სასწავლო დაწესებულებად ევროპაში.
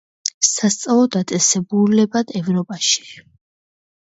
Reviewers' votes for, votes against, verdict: 2, 0, accepted